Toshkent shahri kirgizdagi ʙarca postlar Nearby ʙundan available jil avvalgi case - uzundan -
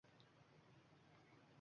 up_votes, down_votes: 1, 2